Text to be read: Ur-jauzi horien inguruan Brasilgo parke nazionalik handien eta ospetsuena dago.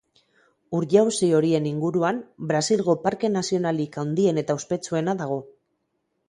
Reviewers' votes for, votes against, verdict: 2, 2, rejected